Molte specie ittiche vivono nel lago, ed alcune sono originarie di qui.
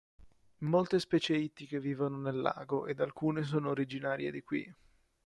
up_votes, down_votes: 2, 1